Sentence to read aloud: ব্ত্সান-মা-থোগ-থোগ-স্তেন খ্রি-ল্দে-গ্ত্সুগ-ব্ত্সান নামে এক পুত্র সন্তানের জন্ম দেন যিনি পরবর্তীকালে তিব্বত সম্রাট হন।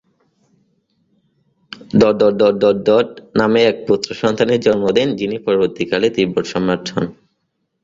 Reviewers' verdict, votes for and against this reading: rejected, 0, 2